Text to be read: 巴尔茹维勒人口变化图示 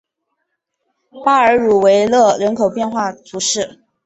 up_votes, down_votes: 4, 0